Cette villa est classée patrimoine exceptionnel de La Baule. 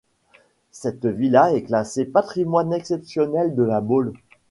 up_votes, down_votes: 2, 0